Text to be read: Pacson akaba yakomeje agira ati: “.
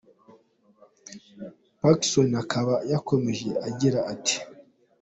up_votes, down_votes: 2, 0